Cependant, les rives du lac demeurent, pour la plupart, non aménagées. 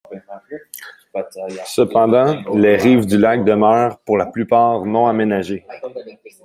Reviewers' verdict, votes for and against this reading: rejected, 0, 2